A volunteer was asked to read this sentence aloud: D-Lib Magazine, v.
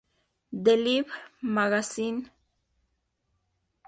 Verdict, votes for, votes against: accepted, 2, 0